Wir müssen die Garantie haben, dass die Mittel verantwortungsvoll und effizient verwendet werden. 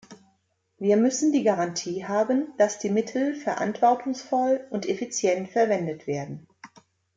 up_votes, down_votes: 2, 0